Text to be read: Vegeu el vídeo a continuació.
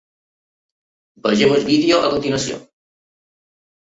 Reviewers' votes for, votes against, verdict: 2, 3, rejected